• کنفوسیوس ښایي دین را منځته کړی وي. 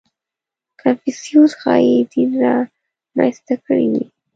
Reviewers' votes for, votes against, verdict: 0, 2, rejected